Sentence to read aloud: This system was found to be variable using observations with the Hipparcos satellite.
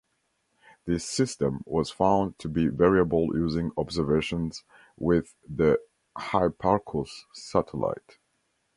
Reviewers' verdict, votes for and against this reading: rejected, 0, 2